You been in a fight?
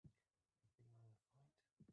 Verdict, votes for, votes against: rejected, 0, 2